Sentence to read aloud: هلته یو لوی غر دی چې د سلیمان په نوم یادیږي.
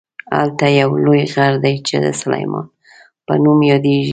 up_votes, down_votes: 3, 0